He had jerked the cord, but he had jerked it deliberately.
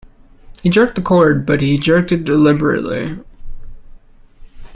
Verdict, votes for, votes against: rejected, 0, 2